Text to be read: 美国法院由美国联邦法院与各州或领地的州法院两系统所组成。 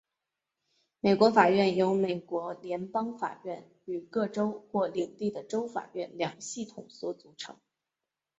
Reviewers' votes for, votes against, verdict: 2, 1, accepted